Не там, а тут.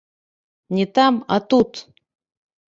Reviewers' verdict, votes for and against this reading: rejected, 1, 2